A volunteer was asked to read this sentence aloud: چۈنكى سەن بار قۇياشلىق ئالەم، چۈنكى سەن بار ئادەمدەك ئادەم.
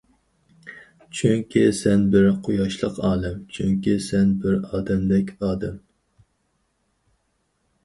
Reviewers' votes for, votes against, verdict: 0, 2, rejected